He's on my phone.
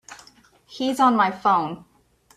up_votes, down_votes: 2, 0